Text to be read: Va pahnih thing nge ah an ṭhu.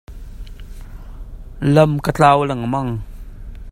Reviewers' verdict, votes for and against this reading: rejected, 1, 2